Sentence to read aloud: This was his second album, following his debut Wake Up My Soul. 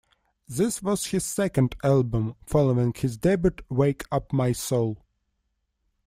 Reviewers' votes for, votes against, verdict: 1, 2, rejected